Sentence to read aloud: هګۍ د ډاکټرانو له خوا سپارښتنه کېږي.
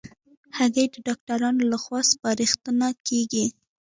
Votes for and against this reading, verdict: 2, 1, accepted